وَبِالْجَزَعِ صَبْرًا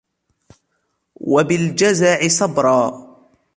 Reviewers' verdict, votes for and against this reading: accepted, 2, 0